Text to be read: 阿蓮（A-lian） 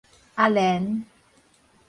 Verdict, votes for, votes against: rejected, 0, 4